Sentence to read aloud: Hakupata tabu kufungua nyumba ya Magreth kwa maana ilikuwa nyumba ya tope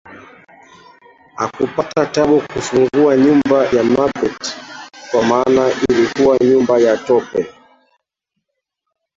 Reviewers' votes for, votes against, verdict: 0, 2, rejected